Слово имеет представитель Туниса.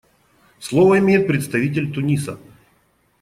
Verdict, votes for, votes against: accepted, 2, 0